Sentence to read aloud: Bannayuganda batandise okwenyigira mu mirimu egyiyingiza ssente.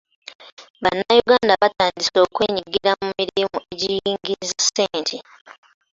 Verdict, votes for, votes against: rejected, 1, 2